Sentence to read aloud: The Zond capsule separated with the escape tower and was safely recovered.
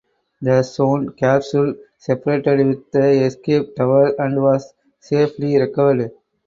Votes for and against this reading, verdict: 4, 0, accepted